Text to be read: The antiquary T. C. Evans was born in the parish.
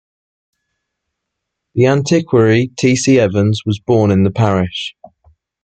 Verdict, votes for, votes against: accepted, 2, 0